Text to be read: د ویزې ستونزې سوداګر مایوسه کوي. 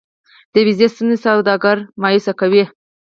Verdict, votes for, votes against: rejected, 0, 4